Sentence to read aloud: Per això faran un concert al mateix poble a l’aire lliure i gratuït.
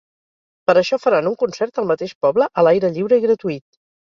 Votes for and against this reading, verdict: 4, 0, accepted